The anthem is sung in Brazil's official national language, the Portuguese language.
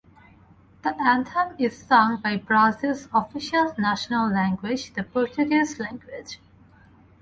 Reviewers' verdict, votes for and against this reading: rejected, 0, 2